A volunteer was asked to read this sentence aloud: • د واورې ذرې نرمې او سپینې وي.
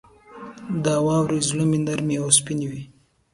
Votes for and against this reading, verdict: 3, 0, accepted